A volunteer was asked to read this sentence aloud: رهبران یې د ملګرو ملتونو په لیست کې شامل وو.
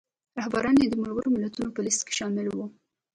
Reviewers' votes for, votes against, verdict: 1, 2, rejected